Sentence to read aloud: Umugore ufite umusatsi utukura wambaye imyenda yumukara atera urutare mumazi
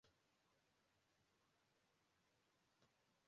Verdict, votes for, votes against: rejected, 0, 2